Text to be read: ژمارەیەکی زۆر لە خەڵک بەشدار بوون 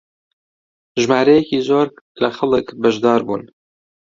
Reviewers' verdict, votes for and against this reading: accepted, 2, 0